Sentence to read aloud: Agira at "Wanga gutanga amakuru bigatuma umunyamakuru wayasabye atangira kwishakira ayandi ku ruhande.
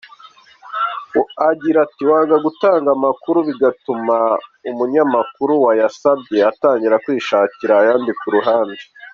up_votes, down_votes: 2, 0